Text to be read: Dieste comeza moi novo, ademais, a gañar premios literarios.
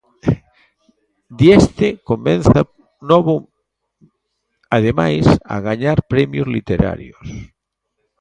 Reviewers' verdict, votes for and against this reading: rejected, 0, 2